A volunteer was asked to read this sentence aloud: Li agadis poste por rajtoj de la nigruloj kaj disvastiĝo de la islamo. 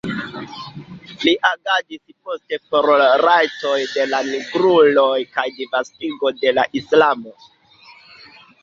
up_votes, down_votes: 0, 2